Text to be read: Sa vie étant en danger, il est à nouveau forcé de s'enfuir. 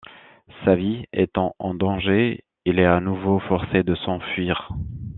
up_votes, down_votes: 2, 0